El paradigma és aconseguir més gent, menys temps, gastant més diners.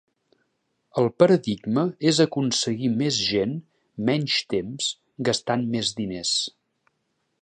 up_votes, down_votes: 2, 0